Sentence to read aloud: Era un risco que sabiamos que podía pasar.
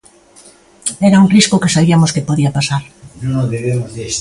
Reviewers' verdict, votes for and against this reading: rejected, 0, 2